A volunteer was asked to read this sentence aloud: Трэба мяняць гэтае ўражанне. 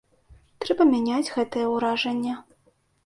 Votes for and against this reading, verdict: 2, 0, accepted